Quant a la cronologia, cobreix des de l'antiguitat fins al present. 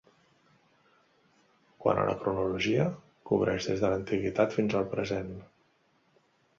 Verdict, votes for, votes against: accepted, 2, 0